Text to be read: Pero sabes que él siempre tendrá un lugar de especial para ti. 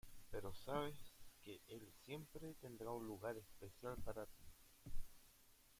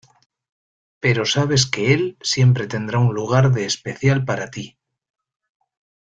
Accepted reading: second